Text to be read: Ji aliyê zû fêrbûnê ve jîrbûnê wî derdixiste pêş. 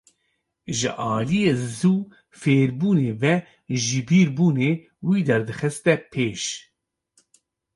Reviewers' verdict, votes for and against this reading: rejected, 0, 2